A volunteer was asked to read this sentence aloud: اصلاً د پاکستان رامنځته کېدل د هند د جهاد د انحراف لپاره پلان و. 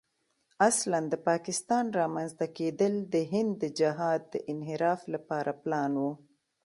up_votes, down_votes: 2, 0